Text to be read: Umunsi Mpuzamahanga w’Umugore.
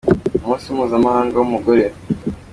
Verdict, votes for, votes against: accepted, 2, 0